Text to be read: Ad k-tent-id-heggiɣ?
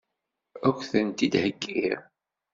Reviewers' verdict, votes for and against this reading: accepted, 2, 1